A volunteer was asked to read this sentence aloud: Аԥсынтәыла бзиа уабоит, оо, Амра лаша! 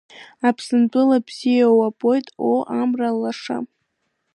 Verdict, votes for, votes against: accepted, 2, 1